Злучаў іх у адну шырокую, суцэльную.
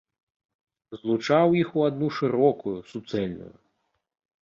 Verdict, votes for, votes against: accepted, 2, 0